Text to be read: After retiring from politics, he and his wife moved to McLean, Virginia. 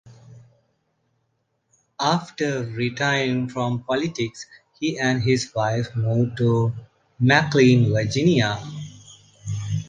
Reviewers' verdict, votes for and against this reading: rejected, 1, 2